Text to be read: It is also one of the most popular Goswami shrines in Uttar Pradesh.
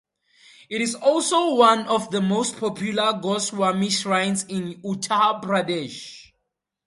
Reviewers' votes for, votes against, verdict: 2, 0, accepted